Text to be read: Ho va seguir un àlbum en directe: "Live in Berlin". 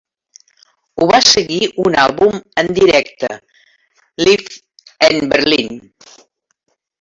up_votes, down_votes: 0, 2